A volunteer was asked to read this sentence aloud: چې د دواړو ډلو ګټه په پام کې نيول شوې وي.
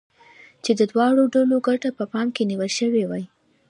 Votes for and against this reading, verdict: 0, 2, rejected